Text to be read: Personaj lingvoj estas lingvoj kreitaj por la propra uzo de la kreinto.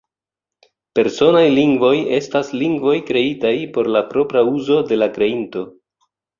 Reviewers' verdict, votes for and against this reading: accepted, 2, 0